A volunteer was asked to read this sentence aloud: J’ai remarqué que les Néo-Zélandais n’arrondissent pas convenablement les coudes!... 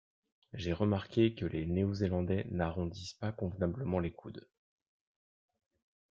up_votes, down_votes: 1, 2